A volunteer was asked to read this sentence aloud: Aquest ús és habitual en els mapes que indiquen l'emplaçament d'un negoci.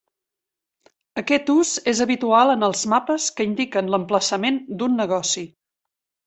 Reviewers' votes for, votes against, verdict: 3, 0, accepted